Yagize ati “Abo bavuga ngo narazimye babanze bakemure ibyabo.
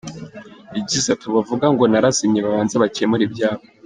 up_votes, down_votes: 2, 0